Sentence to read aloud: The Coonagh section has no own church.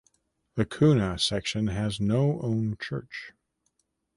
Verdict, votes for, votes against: accepted, 2, 0